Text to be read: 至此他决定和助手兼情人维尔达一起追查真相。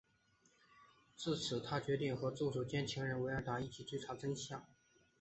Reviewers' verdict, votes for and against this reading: rejected, 0, 2